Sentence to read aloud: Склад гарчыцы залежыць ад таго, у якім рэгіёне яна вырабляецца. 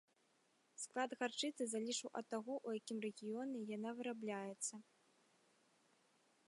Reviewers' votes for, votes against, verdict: 1, 2, rejected